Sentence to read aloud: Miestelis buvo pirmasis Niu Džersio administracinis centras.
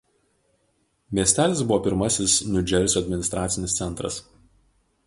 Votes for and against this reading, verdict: 2, 0, accepted